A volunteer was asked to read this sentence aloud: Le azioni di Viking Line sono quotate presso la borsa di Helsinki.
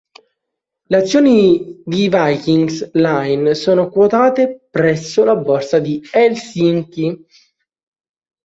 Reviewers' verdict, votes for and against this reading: rejected, 0, 2